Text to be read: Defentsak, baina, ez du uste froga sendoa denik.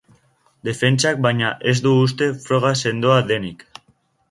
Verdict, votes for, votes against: accepted, 2, 0